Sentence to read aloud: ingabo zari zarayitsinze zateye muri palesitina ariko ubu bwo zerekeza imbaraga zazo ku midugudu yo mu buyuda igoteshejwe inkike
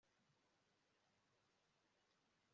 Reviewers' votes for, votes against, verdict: 1, 2, rejected